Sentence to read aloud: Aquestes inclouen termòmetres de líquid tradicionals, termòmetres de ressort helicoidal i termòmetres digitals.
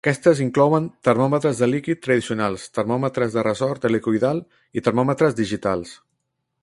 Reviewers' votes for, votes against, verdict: 2, 0, accepted